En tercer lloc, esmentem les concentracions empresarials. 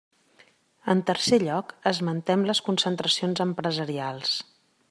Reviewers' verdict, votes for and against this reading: accepted, 3, 0